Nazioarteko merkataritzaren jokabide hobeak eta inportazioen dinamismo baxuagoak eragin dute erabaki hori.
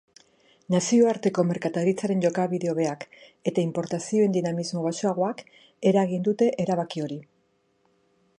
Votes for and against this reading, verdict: 2, 0, accepted